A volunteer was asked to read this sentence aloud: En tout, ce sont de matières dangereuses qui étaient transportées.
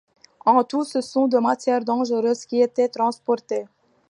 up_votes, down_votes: 2, 0